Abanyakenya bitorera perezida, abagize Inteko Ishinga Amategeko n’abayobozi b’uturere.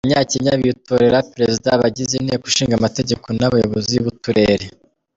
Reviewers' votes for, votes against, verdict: 2, 0, accepted